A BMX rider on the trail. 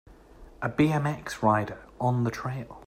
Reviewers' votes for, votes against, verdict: 2, 0, accepted